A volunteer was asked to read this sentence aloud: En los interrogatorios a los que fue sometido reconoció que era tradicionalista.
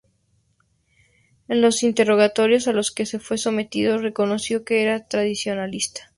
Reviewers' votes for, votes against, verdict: 2, 0, accepted